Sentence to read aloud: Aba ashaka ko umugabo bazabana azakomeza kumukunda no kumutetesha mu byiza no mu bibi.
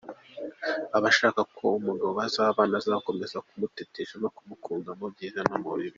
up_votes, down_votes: 2, 0